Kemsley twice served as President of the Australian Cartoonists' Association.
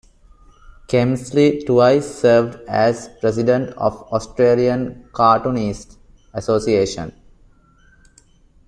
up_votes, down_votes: 0, 2